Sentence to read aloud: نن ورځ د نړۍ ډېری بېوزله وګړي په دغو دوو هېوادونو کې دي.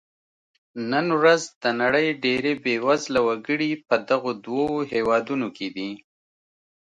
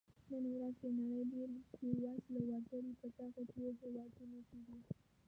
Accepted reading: first